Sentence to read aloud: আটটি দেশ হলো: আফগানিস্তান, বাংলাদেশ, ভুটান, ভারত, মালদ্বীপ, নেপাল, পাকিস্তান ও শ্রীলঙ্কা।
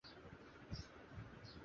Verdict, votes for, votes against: rejected, 0, 2